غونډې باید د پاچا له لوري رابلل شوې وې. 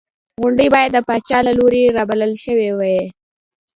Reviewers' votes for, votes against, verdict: 2, 0, accepted